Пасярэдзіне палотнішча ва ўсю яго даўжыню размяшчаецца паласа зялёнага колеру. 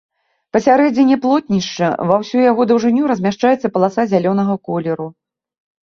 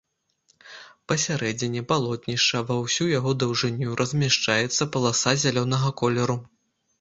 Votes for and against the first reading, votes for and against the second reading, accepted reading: 0, 2, 2, 0, second